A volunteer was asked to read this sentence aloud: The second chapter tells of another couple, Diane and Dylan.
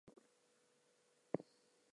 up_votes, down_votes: 0, 2